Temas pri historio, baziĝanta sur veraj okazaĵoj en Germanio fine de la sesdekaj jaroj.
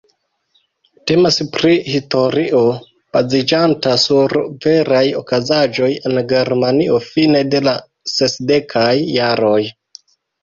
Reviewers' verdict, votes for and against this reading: rejected, 0, 2